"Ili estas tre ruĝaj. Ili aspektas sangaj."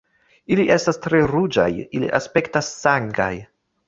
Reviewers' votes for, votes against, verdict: 2, 1, accepted